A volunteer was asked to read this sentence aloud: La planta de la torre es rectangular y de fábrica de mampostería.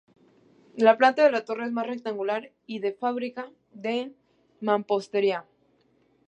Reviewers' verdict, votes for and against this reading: rejected, 0, 2